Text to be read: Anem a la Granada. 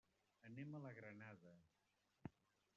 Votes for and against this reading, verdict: 0, 2, rejected